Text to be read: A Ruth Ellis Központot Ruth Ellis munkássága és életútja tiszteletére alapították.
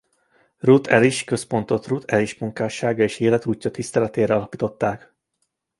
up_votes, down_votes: 1, 2